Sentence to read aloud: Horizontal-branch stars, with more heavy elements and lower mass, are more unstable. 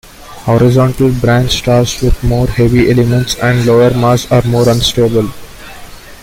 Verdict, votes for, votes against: accepted, 2, 1